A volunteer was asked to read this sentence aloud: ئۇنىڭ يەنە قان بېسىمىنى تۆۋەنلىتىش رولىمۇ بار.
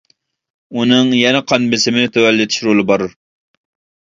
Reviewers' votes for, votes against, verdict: 0, 2, rejected